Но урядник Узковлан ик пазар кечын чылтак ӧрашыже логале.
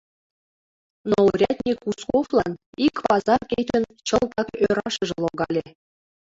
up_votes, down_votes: 2, 1